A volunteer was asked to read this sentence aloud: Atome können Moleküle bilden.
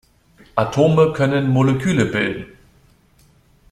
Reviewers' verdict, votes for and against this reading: accepted, 2, 0